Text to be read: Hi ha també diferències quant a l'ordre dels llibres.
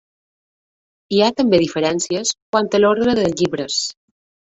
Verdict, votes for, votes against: rejected, 0, 2